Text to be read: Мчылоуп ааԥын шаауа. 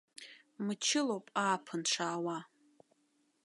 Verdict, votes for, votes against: accepted, 2, 0